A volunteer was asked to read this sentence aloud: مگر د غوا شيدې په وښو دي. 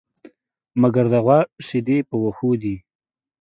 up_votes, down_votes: 3, 0